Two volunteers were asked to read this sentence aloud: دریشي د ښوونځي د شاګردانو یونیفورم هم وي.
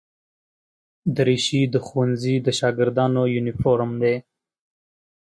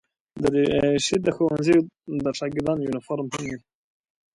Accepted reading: second